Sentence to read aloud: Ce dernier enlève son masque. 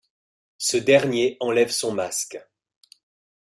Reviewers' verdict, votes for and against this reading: accepted, 3, 0